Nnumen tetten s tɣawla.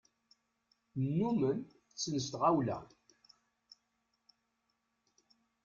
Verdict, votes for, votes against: rejected, 1, 2